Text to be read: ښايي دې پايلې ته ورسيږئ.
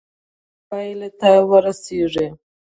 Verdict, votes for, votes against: rejected, 1, 2